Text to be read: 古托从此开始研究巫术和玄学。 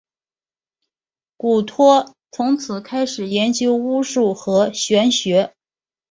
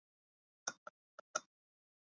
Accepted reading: first